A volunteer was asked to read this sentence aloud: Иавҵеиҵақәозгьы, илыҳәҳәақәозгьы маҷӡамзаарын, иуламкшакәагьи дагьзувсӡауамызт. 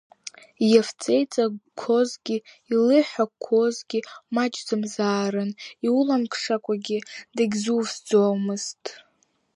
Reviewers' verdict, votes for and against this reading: rejected, 1, 2